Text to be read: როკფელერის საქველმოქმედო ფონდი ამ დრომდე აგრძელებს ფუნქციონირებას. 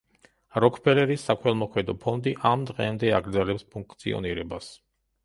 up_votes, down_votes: 0, 2